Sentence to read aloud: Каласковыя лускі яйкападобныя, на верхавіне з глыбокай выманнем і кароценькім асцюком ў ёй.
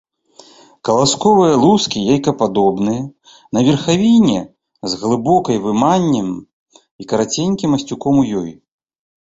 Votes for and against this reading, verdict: 0, 2, rejected